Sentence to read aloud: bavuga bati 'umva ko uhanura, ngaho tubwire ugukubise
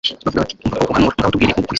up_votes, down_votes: 0, 2